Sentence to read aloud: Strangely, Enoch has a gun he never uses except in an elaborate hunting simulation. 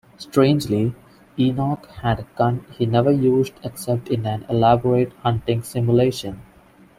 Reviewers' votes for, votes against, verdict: 1, 2, rejected